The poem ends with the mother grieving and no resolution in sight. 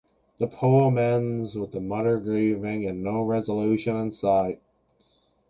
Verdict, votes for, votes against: rejected, 1, 2